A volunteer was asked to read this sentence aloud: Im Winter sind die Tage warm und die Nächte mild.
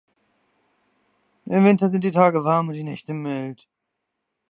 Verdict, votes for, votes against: accepted, 2, 0